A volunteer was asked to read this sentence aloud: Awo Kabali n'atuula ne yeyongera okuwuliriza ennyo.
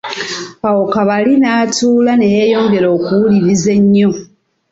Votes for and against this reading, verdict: 2, 1, accepted